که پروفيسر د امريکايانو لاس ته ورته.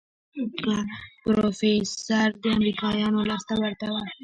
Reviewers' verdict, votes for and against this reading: accepted, 2, 1